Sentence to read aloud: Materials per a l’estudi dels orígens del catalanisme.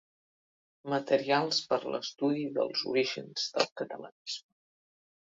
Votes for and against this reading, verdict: 0, 2, rejected